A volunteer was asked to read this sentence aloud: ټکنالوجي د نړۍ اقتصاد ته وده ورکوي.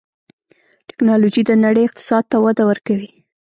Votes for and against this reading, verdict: 1, 2, rejected